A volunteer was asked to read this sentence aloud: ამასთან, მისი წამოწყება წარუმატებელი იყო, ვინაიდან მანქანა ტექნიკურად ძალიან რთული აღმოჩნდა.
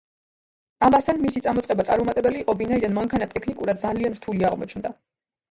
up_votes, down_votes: 3, 1